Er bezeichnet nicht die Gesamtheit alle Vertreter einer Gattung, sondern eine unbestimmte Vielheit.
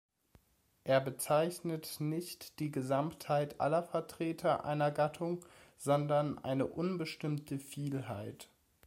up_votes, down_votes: 2, 1